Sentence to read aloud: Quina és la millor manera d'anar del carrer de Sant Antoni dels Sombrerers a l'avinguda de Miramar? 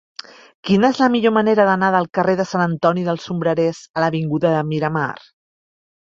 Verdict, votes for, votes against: accepted, 2, 0